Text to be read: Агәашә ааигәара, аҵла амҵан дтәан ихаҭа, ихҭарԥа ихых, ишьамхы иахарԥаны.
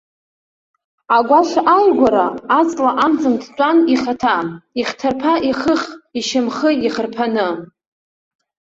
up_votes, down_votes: 3, 1